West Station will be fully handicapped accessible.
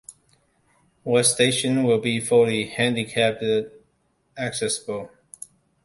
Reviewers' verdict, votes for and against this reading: rejected, 0, 2